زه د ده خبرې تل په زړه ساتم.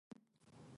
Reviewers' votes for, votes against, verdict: 1, 2, rejected